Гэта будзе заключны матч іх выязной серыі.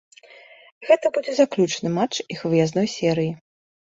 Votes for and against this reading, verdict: 2, 0, accepted